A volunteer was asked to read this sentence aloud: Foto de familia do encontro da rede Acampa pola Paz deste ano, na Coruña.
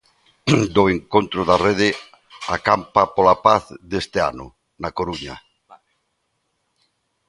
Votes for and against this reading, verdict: 0, 3, rejected